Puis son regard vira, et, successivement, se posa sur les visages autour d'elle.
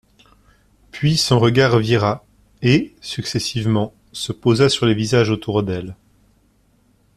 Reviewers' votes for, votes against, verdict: 2, 0, accepted